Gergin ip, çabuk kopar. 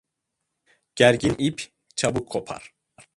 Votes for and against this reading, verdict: 2, 0, accepted